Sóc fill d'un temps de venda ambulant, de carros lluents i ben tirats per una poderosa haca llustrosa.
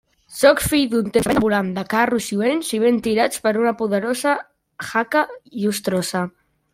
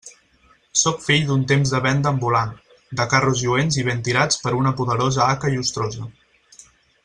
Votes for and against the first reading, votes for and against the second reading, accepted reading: 0, 2, 4, 0, second